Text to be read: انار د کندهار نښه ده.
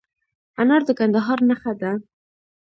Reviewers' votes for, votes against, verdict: 2, 0, accepted